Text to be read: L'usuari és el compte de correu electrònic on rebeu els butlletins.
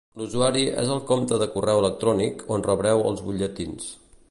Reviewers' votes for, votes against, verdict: 1, 2, rejected